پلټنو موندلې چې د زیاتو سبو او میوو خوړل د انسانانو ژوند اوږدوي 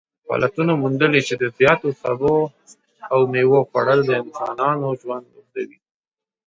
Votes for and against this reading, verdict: 2, 1, accepted